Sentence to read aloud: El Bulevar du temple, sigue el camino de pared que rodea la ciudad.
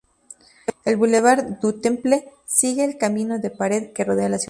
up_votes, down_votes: 0, 2